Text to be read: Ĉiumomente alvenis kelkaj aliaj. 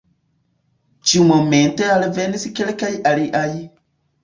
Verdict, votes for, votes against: accepted, 2, 0